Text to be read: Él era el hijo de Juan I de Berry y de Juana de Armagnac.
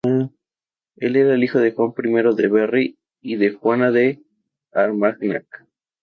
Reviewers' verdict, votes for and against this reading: rejected, 0, 2